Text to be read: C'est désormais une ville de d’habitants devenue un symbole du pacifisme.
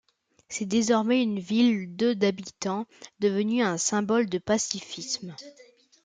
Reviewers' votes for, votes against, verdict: 0, 2, rejected